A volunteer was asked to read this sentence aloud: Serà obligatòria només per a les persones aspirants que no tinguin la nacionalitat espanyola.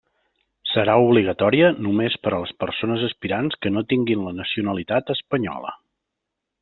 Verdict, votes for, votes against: accepted, 3, 0